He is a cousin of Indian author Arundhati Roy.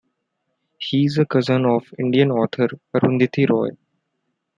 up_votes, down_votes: 0, 2